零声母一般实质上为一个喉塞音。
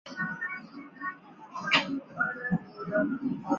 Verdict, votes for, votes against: rejected, 0, 2